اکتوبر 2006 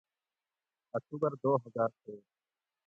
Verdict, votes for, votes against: rejected, 0, 2